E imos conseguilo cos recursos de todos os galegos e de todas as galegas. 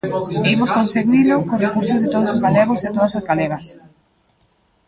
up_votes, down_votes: 0, 2